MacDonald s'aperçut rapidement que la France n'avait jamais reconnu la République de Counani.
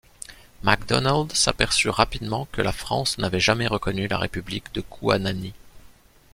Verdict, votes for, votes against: rejected, 0, 2